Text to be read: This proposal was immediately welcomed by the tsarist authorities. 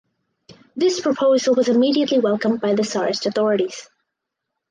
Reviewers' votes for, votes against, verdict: 4, 0, accepted